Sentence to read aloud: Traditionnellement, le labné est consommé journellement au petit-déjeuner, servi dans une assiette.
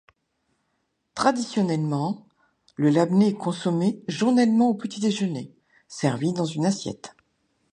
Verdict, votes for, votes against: accepted, 2, 0